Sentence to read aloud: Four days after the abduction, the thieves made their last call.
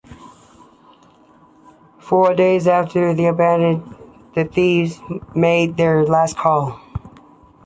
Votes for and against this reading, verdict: 1, 2, rejected